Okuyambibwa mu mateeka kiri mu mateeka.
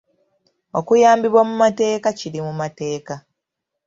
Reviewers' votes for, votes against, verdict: 2, 1, accepted